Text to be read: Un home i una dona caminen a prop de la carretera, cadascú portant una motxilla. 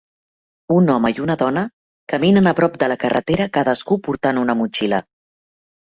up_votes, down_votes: 3, 1